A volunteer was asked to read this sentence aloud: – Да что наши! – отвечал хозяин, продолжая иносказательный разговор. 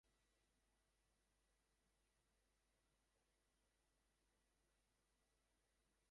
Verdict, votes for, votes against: rejected, 0, 2